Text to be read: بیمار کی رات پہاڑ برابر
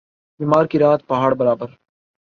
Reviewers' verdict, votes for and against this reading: accepted, 4, 0